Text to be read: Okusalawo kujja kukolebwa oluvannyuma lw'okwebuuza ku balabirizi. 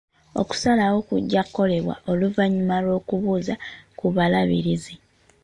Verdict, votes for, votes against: rejected, 0, 2